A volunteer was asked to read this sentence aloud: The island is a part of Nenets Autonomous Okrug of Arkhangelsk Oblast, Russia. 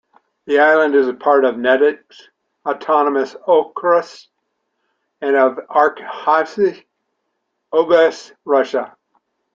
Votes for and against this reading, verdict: 1, 2, rejected